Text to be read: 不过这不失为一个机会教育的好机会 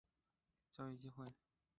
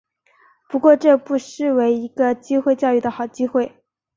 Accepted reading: second